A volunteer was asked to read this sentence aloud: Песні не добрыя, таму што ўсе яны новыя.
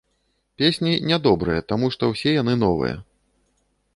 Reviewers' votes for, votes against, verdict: 2, 0, accepted